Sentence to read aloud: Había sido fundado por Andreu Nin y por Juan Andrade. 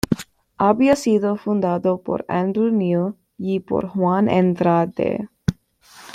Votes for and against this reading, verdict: 1, 2, rejected